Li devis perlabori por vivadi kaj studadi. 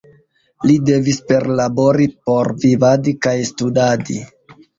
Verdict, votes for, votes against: rejected, 1, 2